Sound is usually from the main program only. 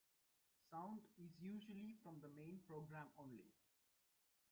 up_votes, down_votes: 1, 2